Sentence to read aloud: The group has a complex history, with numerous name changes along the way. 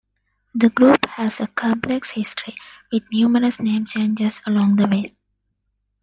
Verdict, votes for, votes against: accepted, 2, 0